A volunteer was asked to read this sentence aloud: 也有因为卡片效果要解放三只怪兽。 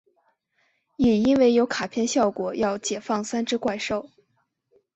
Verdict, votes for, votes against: accepted, 2, 0